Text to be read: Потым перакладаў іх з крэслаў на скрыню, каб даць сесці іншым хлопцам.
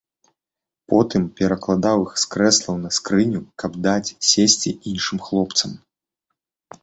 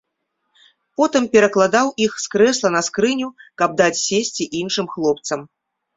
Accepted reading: first